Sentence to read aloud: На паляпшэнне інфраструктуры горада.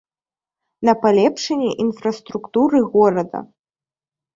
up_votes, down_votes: 0, 2